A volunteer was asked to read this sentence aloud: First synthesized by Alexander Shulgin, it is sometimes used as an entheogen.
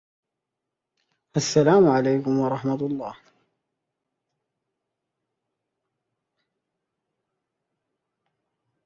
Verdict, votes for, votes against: rejected, 0, 2